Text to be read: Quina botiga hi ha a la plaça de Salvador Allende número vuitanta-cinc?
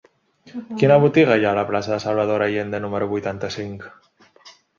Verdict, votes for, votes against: accepted, 2, 0